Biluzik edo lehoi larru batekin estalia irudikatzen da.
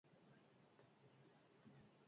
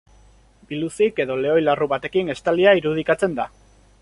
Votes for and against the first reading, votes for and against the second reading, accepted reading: 0, 4, 2, 0, second